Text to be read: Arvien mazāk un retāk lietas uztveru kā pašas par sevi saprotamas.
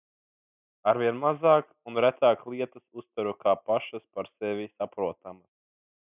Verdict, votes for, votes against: rejected, 1, 2